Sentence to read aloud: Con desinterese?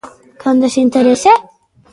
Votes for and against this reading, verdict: 0, 2, rejected